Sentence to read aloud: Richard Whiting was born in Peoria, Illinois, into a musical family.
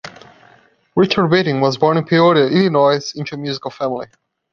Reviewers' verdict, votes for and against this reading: accepted, 2, 0